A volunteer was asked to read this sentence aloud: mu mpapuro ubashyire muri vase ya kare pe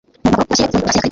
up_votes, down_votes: 0, 2